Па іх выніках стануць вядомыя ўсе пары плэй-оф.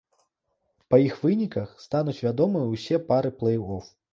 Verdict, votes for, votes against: accepted, 2, 0